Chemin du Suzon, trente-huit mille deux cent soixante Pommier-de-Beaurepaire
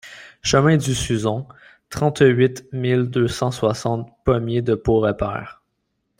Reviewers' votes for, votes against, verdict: 0, 2, rejected